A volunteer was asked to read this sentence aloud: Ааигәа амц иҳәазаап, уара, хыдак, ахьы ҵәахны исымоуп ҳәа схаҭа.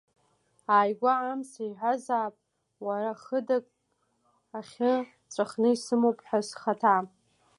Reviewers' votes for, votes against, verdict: 0, 2, rejected